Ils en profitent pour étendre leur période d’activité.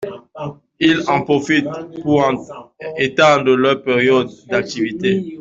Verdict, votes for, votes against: rejected, 0, 2